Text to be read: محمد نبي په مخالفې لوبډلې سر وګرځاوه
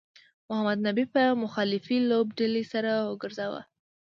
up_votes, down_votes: 2, 0